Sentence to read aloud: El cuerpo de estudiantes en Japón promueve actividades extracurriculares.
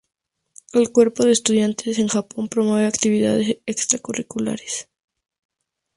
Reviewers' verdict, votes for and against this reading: accepted, 4, 0